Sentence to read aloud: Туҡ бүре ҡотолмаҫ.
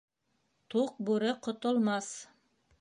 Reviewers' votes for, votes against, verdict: 1, 2, rejected